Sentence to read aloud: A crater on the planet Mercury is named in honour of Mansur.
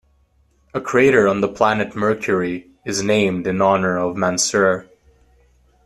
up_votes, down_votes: 2, 0